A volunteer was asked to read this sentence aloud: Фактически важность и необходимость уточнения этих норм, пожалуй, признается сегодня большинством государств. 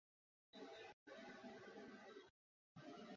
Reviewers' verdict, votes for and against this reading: rejected, 0, 2